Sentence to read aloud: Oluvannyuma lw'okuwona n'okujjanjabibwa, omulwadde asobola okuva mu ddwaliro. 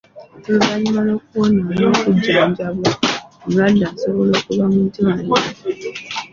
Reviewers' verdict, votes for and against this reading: accepted, 2, 0